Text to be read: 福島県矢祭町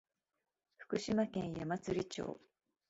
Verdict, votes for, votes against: accepted, 2, 0